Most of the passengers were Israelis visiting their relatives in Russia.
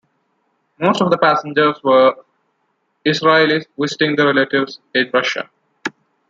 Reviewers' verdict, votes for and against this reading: accepted, 2, 1